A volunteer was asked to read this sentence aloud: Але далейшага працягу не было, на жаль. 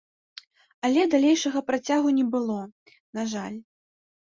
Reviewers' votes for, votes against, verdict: 2, 0, accepted